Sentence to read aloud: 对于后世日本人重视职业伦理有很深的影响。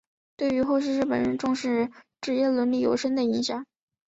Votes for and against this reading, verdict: 1, 2, rejected